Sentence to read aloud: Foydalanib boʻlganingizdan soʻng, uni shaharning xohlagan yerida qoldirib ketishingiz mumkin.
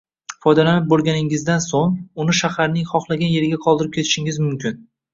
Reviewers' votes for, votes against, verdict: 0, 2, rejected